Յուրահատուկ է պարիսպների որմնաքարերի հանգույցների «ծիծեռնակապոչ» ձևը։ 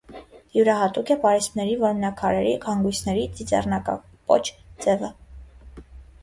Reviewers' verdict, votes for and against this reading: accepted, 2, 1